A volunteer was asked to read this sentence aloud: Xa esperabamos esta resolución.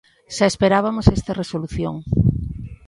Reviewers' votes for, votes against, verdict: 1, 2, rejected